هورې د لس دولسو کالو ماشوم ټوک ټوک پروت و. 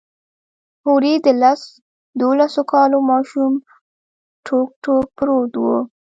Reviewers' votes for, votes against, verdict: 1, 2, rejected